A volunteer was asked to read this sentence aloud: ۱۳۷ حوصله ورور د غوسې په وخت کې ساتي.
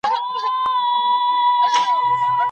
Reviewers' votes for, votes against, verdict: 0, 2, rejected